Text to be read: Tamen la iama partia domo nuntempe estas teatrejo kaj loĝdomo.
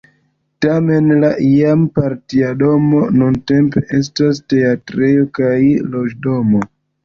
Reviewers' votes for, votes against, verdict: 1, 2, rejected